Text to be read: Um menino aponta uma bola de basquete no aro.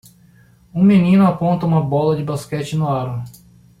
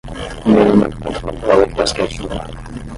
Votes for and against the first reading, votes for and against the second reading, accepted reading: 2, 0, 0, 10, first